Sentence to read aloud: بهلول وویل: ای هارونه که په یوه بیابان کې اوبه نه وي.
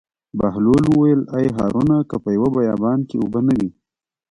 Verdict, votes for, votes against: rejected, 0, 2